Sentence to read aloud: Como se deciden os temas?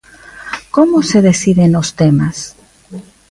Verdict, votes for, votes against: rejected, 1, 2